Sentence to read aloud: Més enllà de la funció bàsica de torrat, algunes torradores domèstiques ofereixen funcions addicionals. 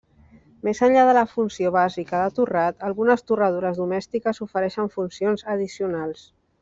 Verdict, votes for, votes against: accepted, 2, 0